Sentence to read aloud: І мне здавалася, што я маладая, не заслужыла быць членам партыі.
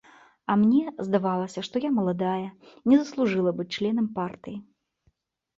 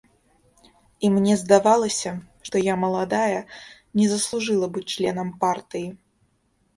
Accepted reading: second